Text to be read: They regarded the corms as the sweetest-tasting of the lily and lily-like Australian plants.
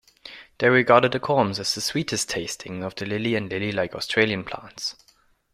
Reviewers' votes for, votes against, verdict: 1, 2, rejected